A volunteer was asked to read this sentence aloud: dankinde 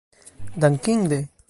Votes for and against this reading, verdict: 2, 0, accepted